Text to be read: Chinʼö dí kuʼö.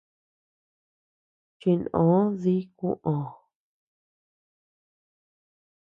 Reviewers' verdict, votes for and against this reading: accepted, 2, 0